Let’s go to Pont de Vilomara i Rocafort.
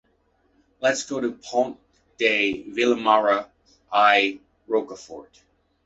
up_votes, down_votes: 1, 2